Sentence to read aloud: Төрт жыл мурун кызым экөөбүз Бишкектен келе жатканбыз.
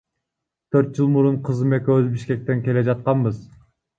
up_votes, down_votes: 1, 2